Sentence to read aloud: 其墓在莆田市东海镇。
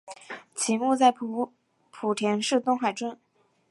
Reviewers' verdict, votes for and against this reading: accepted, 2, 0